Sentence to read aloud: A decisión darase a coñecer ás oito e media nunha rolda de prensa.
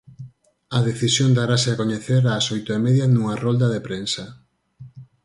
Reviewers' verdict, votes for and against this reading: accepted, 4, 0